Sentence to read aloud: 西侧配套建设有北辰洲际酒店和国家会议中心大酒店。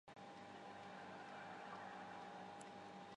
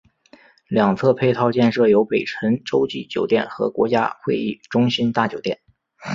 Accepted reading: second